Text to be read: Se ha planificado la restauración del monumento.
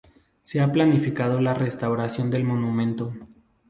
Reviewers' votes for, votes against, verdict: 2, 0, accepted